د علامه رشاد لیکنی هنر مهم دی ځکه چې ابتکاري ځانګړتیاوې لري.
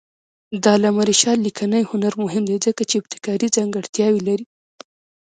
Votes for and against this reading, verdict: 0, 2, rejected